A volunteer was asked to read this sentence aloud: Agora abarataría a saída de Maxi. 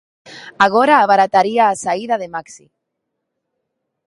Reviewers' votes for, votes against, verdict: 2, 0, accepted